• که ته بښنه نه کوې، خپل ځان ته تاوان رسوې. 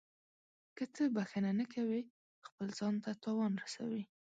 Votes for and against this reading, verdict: 0, 2, rejected